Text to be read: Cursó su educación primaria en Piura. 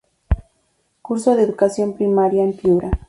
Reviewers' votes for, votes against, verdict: 0, 2, rejected